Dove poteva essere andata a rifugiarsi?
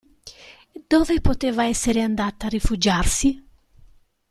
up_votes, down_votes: 2, 0